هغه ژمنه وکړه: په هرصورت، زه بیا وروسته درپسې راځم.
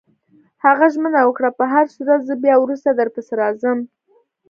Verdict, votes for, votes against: accepted, 2, 0